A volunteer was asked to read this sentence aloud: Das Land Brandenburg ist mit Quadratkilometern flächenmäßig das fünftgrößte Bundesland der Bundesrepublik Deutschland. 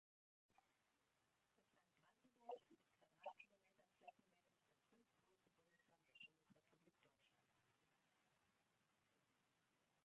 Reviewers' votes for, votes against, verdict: 0, 2, rejected